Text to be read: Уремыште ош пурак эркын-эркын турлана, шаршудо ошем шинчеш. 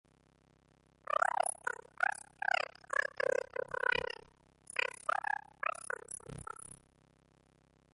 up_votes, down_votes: 0, 2